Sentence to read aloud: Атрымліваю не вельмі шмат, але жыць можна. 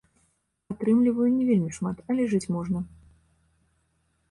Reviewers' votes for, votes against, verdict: 2, 0, accepted